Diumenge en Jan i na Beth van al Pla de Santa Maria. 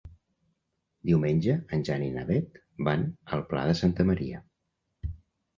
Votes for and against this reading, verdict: 3, 0, accepted